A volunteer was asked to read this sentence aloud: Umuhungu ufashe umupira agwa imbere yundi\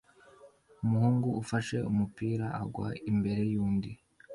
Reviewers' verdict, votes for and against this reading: accepted, 2, 0